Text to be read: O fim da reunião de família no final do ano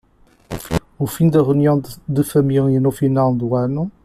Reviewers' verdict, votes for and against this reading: accepted, 2, 0